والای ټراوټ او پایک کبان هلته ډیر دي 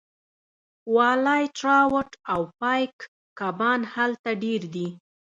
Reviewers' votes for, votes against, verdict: 1, 2, rejected